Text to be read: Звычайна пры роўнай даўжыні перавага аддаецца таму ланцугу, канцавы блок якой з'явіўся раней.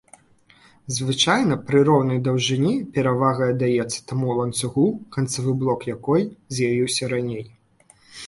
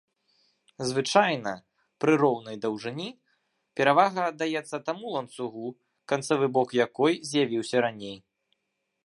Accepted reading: first